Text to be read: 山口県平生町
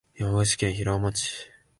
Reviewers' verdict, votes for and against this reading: accepted, 2, 1